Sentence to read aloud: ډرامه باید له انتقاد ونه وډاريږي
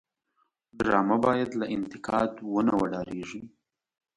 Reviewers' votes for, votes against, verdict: 0, 2, rejected